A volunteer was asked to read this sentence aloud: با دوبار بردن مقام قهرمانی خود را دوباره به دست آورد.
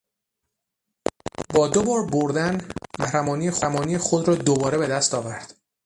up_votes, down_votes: 6, 0